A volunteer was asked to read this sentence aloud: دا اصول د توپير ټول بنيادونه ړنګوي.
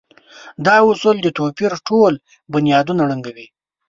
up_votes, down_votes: 2, 0